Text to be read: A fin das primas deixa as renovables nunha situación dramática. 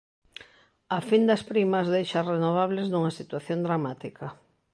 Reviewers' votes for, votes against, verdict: 2, 0, accepted